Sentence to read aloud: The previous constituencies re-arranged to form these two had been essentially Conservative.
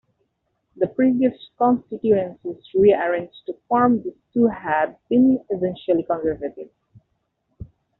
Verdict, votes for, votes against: rejected, 0, 2